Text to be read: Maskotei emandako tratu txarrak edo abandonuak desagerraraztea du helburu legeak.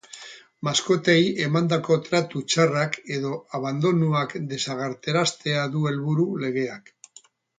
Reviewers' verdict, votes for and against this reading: rejected, 2, 2